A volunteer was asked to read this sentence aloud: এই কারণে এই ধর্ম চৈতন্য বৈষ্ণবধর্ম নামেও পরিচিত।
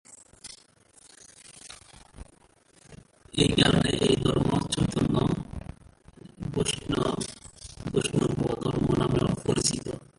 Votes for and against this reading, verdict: 2, 5, rejected